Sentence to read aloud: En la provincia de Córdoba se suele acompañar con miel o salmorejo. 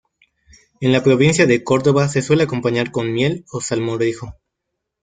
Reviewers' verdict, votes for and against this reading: accepted, 2, 0